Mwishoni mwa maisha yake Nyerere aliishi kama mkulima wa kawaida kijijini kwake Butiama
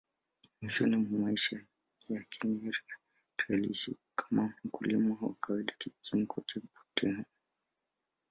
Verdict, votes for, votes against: rejected, 0, 2